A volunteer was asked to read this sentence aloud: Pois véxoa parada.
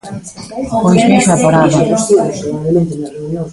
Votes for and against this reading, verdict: 0, 2, rejected